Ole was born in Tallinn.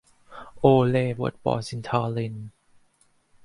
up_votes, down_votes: 0, 2